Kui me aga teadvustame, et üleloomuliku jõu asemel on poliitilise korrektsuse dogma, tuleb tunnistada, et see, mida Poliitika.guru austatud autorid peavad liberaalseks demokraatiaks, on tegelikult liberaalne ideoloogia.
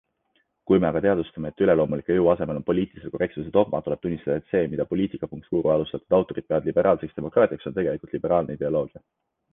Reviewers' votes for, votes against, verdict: 0, 2, rejected